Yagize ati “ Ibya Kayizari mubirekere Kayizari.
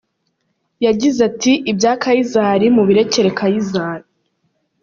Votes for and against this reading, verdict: 3, 0, accepted